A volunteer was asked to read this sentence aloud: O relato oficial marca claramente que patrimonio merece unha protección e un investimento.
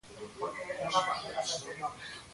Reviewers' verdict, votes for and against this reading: rejected, 0, 3